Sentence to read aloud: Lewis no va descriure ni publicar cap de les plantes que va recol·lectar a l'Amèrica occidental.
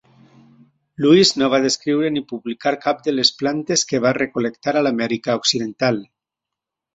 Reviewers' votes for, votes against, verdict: 2, 0, accepted